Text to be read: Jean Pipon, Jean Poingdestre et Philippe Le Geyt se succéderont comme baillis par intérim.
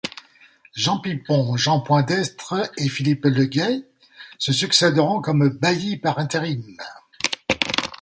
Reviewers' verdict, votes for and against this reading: rejected, 1, 2